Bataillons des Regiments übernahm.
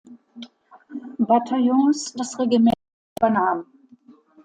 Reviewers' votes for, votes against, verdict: 1, 2, rejected